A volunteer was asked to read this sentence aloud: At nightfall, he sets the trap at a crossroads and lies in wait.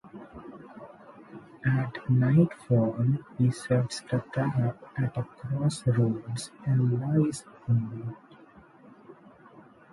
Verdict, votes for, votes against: rejected, 0, 2